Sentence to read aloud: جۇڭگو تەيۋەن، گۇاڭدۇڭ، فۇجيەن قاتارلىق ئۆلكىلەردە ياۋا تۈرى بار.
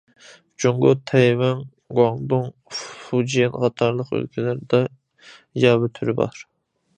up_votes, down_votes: 1, 2